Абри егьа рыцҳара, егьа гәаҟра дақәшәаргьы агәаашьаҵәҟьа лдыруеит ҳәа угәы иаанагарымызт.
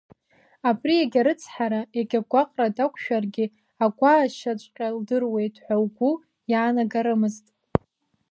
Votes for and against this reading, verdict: 2, 0, accepted